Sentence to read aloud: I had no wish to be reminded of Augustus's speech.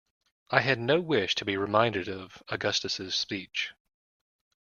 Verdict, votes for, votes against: accepted, 2, 0